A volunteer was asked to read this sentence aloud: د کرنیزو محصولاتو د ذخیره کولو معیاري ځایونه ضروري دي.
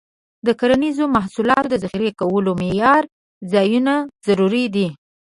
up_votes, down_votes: 2, 1